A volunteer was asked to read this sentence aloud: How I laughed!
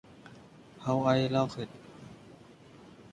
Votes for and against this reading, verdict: 0, 3, rejected